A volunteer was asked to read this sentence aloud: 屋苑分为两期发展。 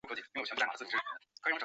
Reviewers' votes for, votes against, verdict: 2, 3, rejected